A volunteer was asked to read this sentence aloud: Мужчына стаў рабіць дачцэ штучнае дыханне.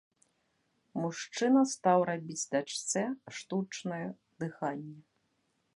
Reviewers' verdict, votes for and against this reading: rejected, 0, 2